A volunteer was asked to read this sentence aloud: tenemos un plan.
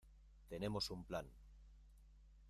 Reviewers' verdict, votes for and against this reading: rejected, 1, 2